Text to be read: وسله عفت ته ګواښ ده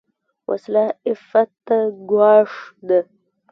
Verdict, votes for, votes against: rejected, 0, 2